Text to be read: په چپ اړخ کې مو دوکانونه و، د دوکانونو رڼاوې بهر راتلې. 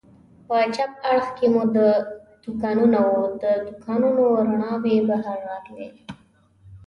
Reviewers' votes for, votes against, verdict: 3, 1, accepted